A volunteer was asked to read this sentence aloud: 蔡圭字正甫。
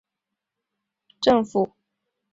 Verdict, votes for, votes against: rejected, 0, 2